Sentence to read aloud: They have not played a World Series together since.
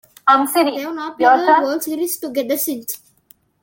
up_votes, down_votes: 0, 2